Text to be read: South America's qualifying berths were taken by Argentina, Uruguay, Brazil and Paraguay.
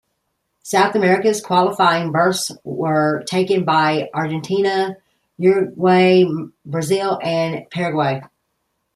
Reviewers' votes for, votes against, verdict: 2, 0, accepted